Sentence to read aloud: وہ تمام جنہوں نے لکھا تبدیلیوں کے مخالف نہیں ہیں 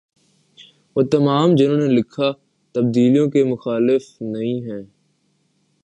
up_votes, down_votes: 1, 2